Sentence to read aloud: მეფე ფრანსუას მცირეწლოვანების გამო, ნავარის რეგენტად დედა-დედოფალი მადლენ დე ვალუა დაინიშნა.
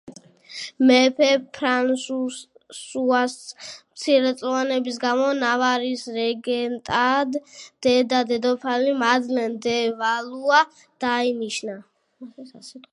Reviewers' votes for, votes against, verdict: 0, 2, rejected